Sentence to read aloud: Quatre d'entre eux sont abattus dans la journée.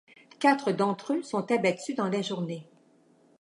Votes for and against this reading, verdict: 2, 0, accepted